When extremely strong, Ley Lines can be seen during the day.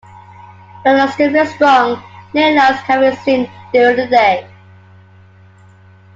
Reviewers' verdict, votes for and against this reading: accepted, 2, 1